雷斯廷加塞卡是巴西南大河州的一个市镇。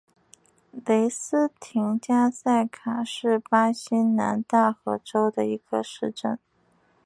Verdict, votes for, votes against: accepted, 2, 1